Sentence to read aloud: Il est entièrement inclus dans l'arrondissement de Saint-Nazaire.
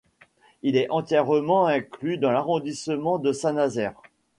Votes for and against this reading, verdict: 2, 0, accepted